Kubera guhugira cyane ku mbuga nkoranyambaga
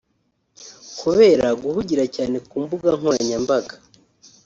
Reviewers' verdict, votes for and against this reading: rejected, 1, 2